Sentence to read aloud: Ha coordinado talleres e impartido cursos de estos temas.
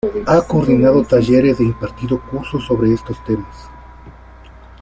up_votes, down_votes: 1, 2